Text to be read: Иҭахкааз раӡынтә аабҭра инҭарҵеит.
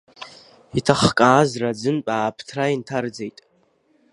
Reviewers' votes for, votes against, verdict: 2, 0, accepted